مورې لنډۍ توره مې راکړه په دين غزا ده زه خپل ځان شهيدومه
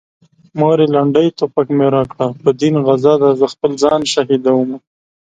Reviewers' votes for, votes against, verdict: 2, 1, accepted